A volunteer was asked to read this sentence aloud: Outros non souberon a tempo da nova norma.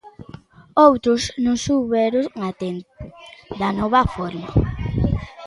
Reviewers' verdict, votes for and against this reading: rejected, 0, 2